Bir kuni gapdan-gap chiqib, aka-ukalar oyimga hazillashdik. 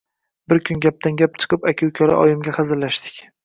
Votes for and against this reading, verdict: 2, 0, accepted